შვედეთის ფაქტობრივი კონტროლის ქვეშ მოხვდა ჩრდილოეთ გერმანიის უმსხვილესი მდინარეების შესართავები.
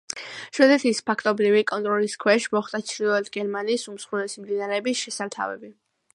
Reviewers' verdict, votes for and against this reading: accepted, 2, 0